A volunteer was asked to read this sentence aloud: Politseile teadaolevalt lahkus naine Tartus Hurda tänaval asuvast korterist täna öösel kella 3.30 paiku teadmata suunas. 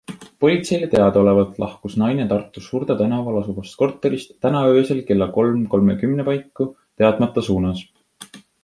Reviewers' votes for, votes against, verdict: 0, 2, rejected